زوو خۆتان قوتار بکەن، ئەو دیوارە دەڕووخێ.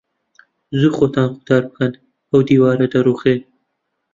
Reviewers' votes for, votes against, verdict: 1, 2, rejected